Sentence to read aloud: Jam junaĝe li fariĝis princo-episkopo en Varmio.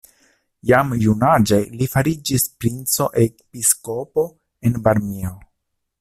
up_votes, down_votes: 2, 0